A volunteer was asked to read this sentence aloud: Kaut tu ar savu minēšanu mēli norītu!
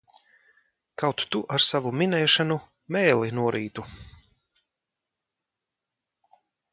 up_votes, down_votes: 2, 1